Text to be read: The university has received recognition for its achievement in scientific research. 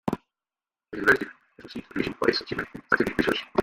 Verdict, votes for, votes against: rejected, 0, 2